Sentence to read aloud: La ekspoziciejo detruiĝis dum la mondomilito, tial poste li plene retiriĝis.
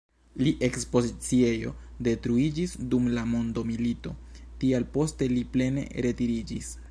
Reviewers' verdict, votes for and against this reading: rejected, 1, 2